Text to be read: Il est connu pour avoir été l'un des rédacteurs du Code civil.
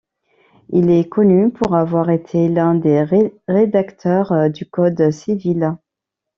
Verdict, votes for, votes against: rejected, 0, 2